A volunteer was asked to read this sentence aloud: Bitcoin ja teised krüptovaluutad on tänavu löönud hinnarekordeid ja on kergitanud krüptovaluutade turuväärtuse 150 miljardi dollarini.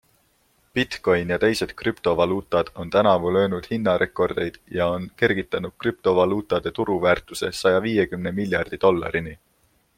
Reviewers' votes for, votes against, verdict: 0, 2, rejected